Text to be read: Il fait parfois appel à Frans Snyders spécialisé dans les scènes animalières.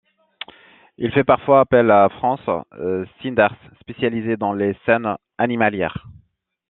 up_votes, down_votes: 0, 2